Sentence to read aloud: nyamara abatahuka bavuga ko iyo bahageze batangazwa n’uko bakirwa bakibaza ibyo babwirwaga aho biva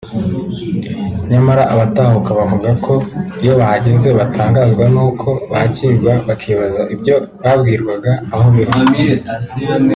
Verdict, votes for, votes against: rejected, 1, 2